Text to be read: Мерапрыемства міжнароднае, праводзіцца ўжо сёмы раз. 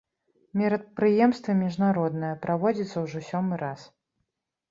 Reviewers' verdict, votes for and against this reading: rejected, 0, 2